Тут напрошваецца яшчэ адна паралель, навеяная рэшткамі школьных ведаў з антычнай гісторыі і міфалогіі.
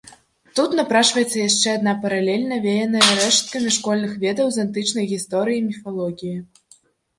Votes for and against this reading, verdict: 1, 2, rejected